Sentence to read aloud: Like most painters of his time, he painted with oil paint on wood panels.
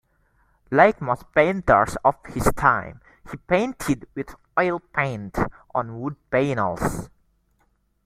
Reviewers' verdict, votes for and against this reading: rejected, 0, 2